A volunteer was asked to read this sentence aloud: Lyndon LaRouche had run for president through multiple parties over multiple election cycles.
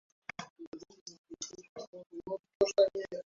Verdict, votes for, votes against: rejected, 0, 2